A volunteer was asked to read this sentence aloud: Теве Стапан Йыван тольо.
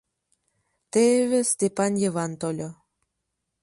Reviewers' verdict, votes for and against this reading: rejected, 0, 2